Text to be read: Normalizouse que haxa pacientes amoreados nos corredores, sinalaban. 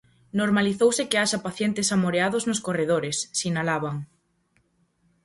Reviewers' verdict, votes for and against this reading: accepted, 4, 0